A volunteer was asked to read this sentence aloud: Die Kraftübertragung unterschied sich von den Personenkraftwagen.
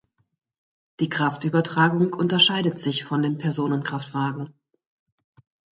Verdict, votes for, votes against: rejected, 0, 2